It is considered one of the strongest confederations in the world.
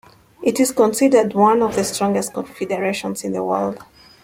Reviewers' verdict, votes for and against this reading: accepted, 2, 0